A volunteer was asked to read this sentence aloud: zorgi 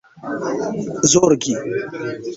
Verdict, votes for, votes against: accepted, 2, 0